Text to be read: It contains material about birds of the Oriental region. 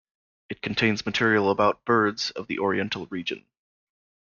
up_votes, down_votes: 2, 0